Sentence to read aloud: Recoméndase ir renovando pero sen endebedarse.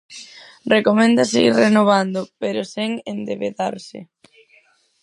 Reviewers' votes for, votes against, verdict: 2, 2, rejected